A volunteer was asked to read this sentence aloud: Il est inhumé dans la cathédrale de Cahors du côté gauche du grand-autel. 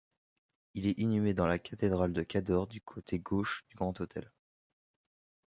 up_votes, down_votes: 1, 2